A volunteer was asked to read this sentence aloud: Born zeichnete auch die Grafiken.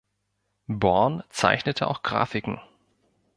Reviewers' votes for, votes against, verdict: 0, 2, rejected